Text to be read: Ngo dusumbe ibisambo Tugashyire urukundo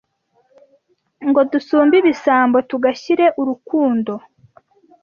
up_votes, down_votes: 2, 0